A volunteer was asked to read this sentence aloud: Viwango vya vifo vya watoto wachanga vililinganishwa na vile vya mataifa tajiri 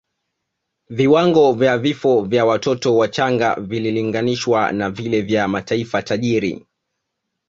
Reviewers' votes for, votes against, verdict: 2, 0, accepted